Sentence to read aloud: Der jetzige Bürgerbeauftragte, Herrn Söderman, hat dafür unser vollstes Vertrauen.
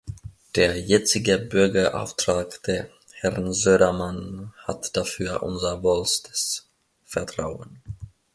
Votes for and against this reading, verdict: 0, 2, rejected